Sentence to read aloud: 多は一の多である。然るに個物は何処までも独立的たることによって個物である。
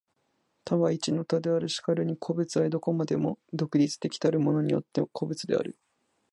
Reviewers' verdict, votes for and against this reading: accepted, 2, 1